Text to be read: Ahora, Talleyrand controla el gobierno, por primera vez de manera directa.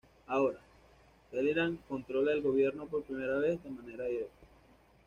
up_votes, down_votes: 2, 0